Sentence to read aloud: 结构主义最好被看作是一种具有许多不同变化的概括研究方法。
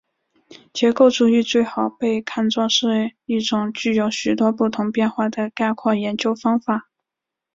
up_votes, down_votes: 2, 0